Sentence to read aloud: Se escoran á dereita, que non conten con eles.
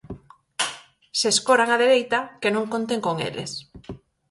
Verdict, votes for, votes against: accepted, 4, 0